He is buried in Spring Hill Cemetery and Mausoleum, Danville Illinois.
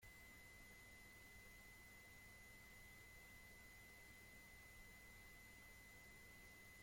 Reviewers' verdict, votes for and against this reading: rejected, 0, 2